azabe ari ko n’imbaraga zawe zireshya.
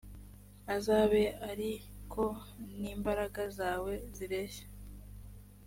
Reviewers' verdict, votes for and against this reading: accepted, 3, 0